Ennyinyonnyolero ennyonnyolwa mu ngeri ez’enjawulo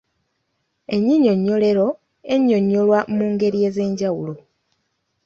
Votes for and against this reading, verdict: 2, 1, accepted